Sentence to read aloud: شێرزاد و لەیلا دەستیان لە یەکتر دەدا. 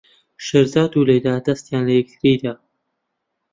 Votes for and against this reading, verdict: 0, 2, rejected